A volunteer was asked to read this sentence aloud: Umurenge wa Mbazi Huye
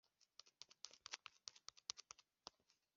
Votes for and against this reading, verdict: 0, 3, rejected